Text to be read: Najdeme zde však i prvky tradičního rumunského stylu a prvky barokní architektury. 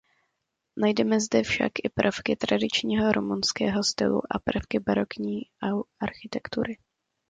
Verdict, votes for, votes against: rejected, 1, 2